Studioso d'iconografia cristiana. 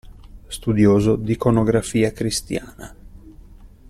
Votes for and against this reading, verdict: 2, 0, accepted